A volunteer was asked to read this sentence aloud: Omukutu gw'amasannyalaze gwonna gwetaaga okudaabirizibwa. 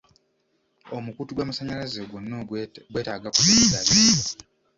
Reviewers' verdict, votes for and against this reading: rejected, 1, 2